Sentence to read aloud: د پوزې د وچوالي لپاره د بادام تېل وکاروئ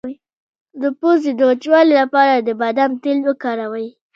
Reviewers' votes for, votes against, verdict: 2, 0, accepted